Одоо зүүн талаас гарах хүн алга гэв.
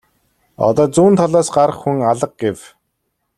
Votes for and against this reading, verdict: 2, 0, accepted